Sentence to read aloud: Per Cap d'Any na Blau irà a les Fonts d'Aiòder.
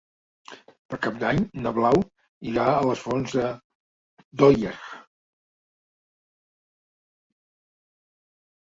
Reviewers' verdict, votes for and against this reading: rejected, 0, 4